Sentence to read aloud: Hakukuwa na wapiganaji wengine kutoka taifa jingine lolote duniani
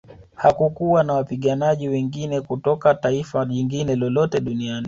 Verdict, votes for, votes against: accepted, 2, 0